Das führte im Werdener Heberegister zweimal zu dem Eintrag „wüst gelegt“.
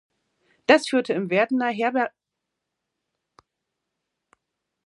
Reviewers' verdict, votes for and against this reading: rejected, 0, 2